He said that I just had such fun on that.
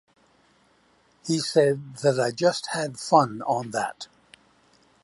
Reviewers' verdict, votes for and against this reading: rejected, 1, 2